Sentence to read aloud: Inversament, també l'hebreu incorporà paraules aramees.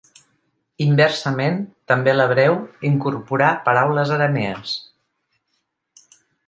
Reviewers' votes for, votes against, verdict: 2, 0, accepted